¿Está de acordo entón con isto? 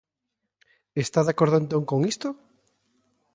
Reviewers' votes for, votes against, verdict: 2, 0, accepted